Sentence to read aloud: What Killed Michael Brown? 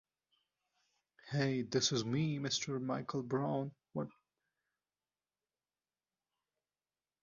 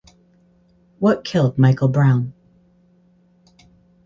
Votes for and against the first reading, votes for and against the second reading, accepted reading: 0, 2, 4, 0, second